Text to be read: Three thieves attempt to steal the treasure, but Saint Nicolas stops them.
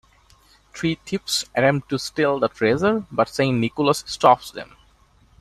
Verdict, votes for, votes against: rejected, 1, 2